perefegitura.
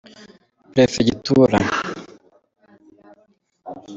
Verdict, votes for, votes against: accepted, 2, 1